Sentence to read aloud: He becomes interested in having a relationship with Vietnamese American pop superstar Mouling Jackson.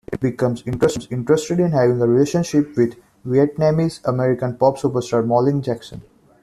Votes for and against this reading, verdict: 0, 2, rejected